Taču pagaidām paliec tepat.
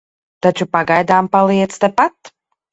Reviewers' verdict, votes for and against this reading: accepted, 4, 0